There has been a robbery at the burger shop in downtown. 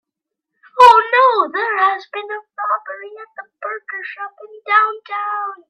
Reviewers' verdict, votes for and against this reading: rejected, 0, 2